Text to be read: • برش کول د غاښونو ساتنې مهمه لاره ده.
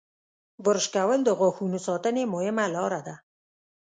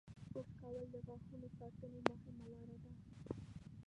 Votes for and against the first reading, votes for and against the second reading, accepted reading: 2, 0, 0, 2, first